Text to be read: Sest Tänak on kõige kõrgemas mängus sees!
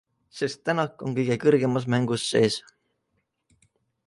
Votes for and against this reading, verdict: 2, 0, accepted